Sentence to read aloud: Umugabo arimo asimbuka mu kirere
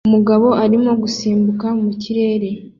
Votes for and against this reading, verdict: 0, 2, rejected